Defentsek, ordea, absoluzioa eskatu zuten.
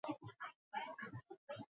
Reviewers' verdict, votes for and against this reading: accepted, 2, 0